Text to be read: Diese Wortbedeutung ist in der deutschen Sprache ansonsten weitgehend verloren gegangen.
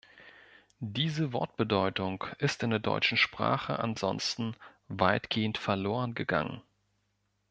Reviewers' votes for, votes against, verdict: 2, 0, accepted